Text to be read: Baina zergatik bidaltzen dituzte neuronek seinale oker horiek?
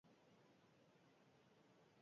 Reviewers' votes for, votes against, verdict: 0, 4, rejected